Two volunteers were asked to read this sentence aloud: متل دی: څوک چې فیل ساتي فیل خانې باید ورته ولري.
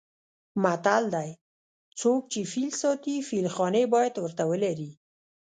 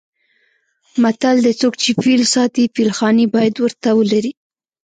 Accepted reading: second